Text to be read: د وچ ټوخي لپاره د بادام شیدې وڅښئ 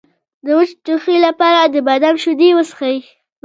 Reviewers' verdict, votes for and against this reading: rejected, 0, 2